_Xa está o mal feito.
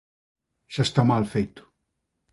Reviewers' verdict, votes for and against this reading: rejected, 0, 2